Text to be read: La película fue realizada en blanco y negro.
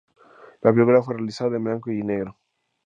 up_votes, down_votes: 2, 4